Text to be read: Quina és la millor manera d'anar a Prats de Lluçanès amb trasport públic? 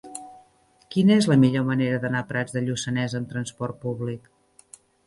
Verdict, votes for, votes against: accepted, 3, 0